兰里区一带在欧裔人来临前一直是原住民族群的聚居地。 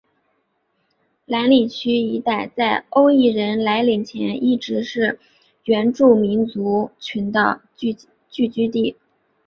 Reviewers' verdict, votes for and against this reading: accepted, 2, 0